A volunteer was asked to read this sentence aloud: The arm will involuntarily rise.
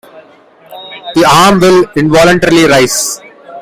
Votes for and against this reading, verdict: 2, 0, accepted